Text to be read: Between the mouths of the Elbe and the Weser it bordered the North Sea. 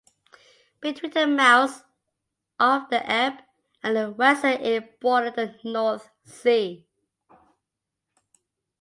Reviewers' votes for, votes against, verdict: 2, 0, accepted